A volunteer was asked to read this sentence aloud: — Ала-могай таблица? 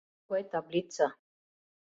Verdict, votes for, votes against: rejected, 0, 2